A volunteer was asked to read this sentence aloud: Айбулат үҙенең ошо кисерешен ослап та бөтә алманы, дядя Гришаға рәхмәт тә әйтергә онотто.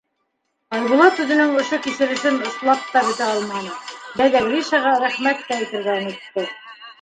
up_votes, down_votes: 0, 2